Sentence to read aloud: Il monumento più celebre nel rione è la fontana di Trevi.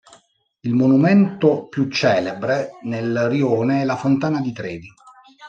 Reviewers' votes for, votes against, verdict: 1, 2, rejected